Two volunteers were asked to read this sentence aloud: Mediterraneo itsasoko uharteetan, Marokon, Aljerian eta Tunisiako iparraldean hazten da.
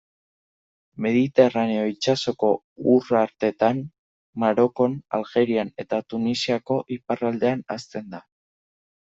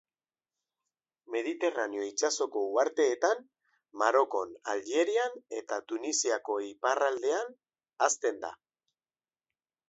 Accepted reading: second